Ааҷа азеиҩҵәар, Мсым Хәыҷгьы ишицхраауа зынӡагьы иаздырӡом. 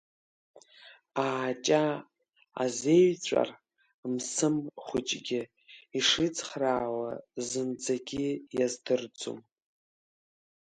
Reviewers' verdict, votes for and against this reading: rejected, 1, 2